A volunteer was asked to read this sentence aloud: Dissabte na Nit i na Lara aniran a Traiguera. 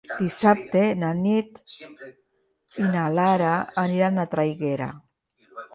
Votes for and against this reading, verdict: 1, 2, rejected